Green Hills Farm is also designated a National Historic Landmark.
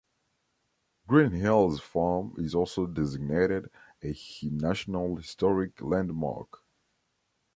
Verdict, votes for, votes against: accepted, 2, 0